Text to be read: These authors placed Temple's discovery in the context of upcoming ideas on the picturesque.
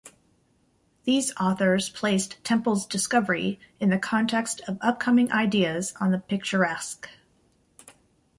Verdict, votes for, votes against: accepted, 2, 0